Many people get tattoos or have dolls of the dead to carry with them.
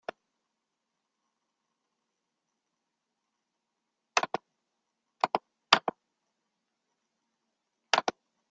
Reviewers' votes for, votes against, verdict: 0, 2, rejected